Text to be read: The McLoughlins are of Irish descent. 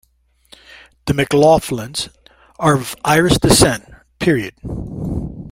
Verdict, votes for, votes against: rejected, 1, 2